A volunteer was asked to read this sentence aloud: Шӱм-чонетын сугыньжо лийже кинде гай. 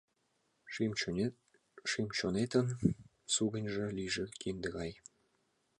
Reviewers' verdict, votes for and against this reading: accepted, 2, 1